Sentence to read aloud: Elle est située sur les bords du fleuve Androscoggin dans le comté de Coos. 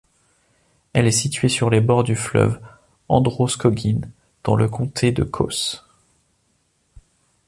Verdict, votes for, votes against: accepted, 2, 0